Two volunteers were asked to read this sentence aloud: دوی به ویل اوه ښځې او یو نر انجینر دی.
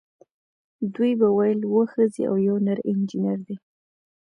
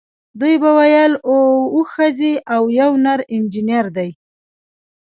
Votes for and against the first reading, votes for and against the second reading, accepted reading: 2, 0, 1, 2, first